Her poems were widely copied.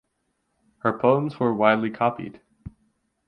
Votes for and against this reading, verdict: 12, 0, accepted